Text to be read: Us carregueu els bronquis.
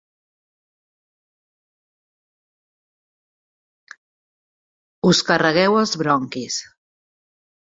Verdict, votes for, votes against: accepted, 4, 0